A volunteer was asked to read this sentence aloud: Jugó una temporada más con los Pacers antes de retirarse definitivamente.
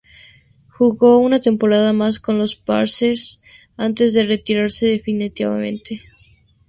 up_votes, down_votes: 2, 0